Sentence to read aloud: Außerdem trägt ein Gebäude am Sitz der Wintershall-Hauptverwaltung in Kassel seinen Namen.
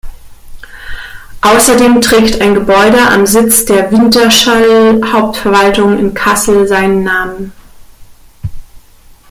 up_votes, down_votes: 1, 2